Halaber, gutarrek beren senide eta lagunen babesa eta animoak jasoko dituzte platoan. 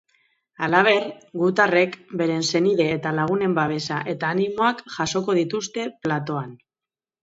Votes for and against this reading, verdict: 1, 2, rejected